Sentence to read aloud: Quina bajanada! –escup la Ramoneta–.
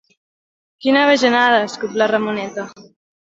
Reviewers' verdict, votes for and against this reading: accepted, 2, 0